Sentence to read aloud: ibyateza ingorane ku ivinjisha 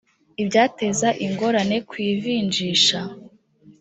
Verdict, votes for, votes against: accepted, 2, 1